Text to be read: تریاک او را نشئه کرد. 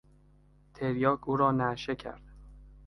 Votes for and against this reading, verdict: 0, 2, rejected